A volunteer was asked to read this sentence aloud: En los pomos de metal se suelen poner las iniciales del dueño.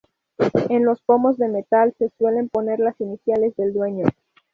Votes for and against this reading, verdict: 0, 2, rejected